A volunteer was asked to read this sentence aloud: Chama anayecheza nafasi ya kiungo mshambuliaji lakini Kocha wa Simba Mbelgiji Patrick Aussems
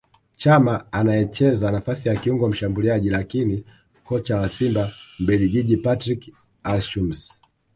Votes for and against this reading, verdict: 2, 0, accepted